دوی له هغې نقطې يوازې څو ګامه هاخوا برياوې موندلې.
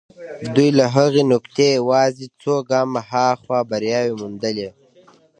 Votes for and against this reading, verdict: 2, 0, accepted